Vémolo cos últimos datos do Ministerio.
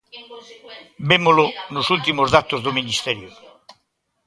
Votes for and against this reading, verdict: 0, 2, rejected